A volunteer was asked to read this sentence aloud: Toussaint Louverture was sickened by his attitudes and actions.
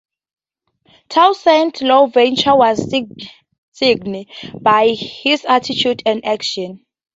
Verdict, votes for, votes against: rejected, 0, 2